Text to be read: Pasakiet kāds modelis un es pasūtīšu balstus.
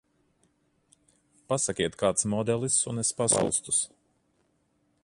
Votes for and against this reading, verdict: 0, 3, rejected